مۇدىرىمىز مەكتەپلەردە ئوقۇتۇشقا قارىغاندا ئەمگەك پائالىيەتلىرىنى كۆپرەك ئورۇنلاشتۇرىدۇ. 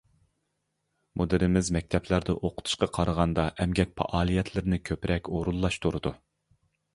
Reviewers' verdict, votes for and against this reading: accepted, 2, 0